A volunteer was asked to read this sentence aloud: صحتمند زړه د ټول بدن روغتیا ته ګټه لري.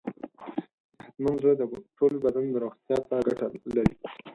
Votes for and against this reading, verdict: 0, 4, rejected